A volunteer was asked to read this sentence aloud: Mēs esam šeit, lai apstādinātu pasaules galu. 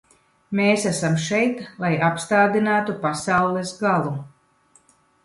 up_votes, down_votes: 2, 0